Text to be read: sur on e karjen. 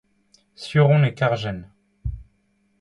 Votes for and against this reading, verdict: 2, 0, accepted